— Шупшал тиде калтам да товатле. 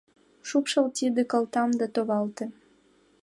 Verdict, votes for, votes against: rejected, 0, 2